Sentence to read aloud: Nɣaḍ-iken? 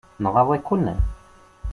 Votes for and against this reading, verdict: 2, 0, accepted